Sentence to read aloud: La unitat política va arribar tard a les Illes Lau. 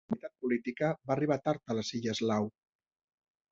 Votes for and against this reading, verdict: 0, 2, rejected